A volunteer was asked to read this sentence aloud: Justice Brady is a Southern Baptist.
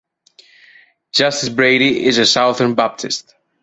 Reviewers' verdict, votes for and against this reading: rejected, 0, 2